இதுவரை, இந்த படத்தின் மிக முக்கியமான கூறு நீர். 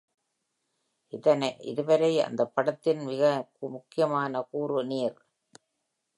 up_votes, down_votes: 1, 2